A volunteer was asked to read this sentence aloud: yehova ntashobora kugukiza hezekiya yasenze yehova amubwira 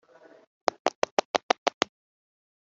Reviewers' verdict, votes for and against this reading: rejected, 0, 2